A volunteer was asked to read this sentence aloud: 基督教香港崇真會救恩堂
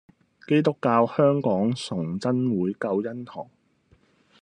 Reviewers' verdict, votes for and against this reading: accepted, 2, 0